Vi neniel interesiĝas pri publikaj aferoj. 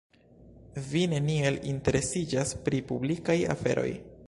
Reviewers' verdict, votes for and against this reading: accepted, 2, 0